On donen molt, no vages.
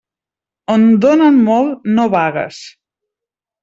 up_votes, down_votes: 0, 2